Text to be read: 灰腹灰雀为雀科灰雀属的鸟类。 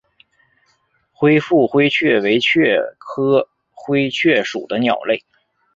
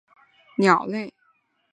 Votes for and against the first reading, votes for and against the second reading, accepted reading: 2, 0, 0, 4, first